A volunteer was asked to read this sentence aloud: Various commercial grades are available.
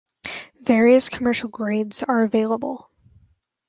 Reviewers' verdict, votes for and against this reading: accepted, 2, 0